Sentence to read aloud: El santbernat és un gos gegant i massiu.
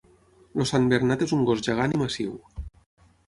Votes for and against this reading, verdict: 0, 6, rejected